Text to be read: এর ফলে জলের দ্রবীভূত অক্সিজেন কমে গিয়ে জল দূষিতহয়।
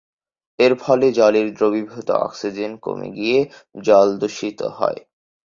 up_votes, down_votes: 0, 2